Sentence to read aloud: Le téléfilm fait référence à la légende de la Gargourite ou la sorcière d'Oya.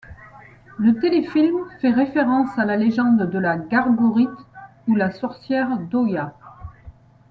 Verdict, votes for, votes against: accepted, 2, 0